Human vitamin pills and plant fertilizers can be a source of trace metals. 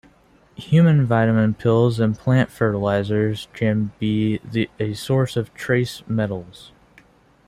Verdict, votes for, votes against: rejected, 0, 2